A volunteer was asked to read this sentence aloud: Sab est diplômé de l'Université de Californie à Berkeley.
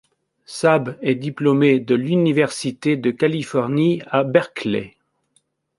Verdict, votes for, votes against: accepted, 2, 0